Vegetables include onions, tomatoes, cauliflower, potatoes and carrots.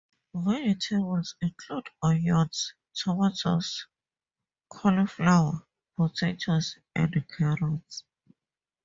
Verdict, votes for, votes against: accepted, 4, 0